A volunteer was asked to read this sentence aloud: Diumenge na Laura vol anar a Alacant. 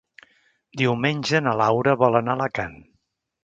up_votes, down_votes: 3, 0